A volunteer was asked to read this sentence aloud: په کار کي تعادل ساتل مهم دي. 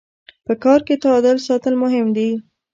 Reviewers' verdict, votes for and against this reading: rejected, 1, 2